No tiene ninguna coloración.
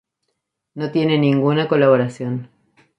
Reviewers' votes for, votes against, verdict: 2, 2, rejected